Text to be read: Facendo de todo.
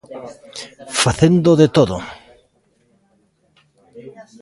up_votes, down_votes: 1, 2